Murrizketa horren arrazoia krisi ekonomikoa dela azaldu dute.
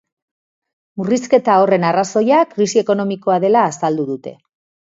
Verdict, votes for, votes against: accepted, 2, 0